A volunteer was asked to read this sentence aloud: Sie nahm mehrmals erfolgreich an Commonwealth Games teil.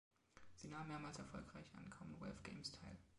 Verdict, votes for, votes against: rejected, 1, 2